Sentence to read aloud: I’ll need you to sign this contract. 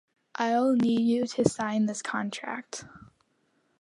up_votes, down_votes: 2, 1